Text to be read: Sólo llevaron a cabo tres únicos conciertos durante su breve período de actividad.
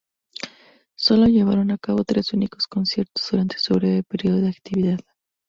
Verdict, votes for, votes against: accepted, 2, 0